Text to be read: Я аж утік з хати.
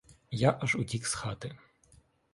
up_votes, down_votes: 2, 0